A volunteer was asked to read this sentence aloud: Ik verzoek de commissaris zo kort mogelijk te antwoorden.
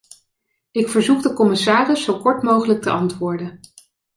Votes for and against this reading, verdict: 2, 0, accepted